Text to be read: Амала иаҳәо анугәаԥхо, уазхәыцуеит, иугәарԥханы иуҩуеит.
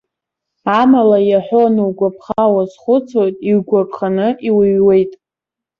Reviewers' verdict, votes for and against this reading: accepted, 2, 0